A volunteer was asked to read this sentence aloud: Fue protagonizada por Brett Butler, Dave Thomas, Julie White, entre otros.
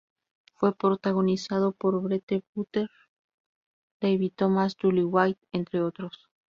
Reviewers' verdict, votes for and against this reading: rejected, 0, 2